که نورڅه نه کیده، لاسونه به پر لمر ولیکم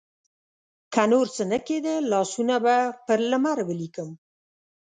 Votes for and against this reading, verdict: 4, 0, accepted